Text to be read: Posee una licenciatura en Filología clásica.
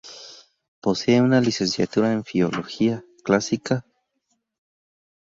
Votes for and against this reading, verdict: 0, 2, rejected